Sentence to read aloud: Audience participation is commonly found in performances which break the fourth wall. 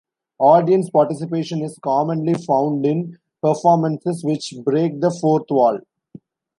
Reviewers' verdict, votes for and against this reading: accepted, 2, 0